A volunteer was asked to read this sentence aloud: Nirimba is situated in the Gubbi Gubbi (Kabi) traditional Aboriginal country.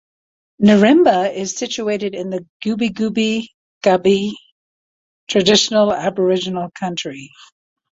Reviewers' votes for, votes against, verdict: 2, 1, accepted